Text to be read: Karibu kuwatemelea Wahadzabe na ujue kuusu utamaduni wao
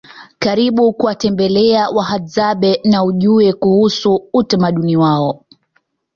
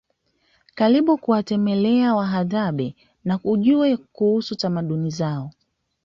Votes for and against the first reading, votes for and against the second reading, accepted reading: 2, 1, 1, 2, first